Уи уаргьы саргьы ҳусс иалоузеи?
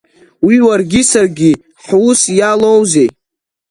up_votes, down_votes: 2, 1